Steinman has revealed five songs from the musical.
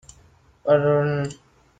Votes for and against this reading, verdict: 0, 2, rejected